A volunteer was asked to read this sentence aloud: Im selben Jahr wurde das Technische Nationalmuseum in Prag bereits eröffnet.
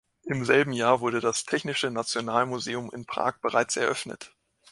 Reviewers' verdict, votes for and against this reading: accepted, 2, 0